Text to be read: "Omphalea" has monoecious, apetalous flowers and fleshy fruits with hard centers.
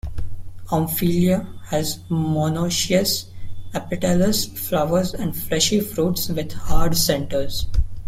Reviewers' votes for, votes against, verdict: 1, 2, rejected